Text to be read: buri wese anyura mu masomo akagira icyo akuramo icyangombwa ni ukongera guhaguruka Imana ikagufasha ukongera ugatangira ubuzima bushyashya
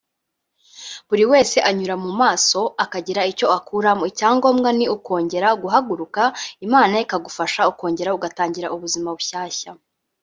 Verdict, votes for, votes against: rejected, 0, 2